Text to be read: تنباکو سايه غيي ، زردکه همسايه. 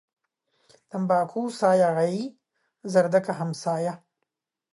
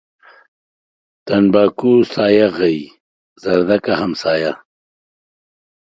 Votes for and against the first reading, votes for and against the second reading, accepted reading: 1, 2, 2, 0, second